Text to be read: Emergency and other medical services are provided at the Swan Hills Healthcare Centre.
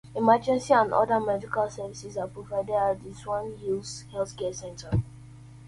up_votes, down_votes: 0, 2